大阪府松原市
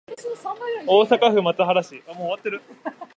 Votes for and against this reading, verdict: 2, 3, rejected